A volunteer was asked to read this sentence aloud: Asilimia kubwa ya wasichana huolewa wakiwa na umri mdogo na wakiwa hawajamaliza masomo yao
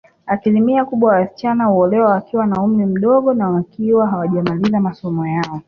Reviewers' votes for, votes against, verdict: 2, 0, accepted